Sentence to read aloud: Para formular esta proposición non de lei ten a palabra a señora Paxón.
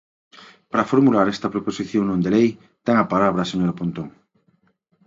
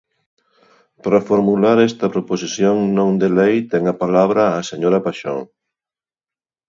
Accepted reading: second